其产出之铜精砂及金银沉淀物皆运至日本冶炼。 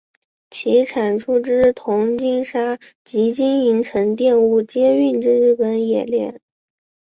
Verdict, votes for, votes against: accepted, 2, 1